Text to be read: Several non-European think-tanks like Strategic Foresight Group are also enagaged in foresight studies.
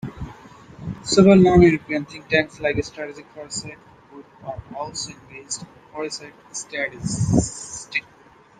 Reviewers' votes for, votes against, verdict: 0, 2, rejected